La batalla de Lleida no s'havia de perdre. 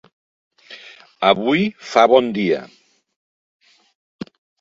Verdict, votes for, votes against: rejected, 0, 2